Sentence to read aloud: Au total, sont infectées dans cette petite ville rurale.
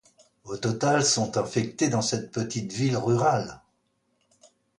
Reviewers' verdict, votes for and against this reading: accepted, 2, 0